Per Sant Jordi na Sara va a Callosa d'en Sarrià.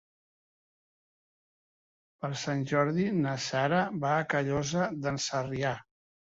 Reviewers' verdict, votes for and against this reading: accepted, 3, 0